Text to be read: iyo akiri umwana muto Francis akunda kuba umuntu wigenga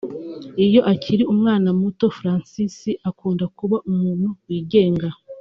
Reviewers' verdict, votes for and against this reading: accepted, 2, 1